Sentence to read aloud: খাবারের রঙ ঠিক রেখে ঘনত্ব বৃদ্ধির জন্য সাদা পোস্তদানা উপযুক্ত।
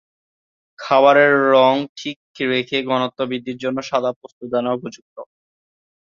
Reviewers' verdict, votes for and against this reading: rejected, 0, 2